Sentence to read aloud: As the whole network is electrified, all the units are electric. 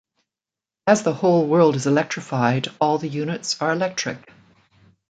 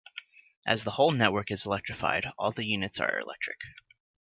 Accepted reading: second